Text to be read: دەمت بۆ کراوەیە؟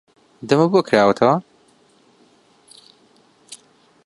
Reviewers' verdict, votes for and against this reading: rejected, 0, 2